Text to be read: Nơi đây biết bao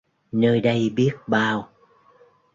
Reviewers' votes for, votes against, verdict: 2, 0, accepted